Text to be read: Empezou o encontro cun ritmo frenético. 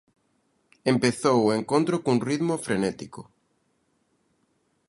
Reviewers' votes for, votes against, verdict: 2, 0, accepted